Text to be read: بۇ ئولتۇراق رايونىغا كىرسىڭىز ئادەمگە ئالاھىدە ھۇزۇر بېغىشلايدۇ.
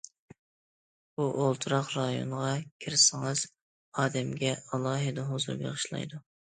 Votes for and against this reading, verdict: 2, 0, accepted